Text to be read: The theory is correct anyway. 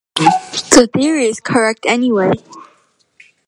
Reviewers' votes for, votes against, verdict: 1, 2, rejected